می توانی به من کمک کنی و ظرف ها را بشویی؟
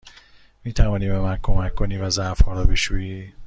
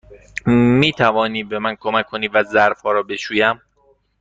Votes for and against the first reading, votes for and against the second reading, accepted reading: 2, 0, 1, 2, first